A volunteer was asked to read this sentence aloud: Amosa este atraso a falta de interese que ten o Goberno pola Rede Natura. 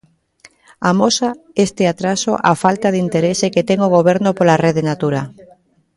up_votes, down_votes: 1, 2